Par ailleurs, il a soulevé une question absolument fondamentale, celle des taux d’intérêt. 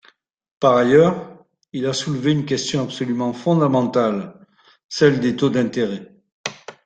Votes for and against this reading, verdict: 1, 2, rejected